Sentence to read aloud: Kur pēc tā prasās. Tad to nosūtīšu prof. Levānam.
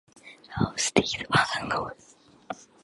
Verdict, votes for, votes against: rejected, 0, 2